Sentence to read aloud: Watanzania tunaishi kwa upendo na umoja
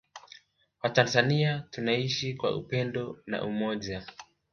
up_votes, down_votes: 4, 0